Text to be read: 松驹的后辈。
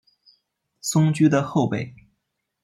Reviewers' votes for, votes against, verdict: 2, 0, accepted